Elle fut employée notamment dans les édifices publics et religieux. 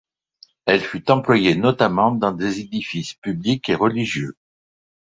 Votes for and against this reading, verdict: 0, 2, rejected